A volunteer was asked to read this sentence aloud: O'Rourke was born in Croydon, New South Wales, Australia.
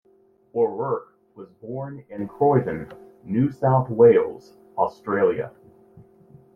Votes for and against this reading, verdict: 2, 0, accepted